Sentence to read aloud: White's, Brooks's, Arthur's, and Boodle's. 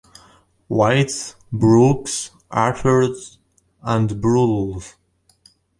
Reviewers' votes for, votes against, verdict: 2, 0, accepted